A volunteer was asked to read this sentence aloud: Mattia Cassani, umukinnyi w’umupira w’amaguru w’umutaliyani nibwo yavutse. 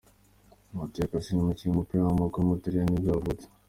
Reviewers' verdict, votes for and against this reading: accepted, 2, 0